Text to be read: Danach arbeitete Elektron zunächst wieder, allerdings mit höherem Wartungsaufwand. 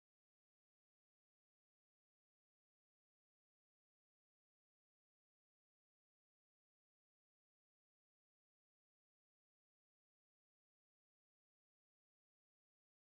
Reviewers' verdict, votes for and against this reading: rejected, 0, 2